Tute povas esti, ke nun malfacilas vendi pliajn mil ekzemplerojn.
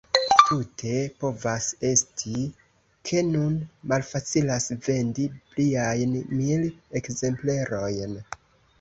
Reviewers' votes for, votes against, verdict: 2, 1, accepted